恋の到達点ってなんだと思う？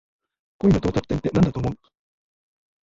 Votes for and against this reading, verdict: 1, 2, rejected